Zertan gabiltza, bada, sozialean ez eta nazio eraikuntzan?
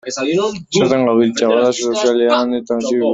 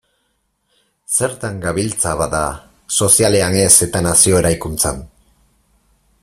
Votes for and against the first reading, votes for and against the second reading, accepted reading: 0, 2, 4, 0, second